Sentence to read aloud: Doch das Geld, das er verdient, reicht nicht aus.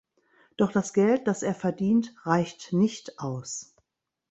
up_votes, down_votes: 3, 0